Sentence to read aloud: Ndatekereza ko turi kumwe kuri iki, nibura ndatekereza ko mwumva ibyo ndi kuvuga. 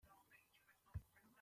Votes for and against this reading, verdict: 0, 2, rejected